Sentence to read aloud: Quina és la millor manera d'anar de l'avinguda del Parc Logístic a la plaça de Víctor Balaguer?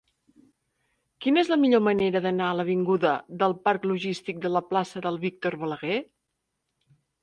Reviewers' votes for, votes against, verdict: 1, 3, rejected